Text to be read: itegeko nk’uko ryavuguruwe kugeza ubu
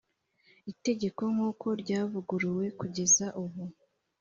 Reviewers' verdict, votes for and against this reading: accepted, 3, 0